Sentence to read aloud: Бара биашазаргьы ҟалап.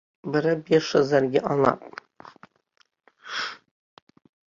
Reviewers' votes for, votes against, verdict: 0, 2, rejected